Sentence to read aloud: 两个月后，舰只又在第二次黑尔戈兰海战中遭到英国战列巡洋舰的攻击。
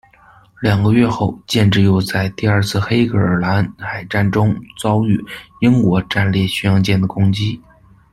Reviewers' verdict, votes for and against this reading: accepted, 2, 0